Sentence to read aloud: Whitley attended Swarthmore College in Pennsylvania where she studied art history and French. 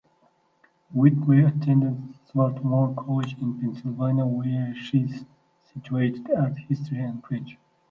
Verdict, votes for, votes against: rejected, 0, 2